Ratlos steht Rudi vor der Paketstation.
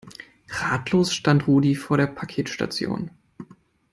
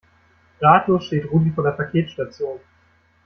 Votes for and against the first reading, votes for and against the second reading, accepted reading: 0, 2, 2, 1, second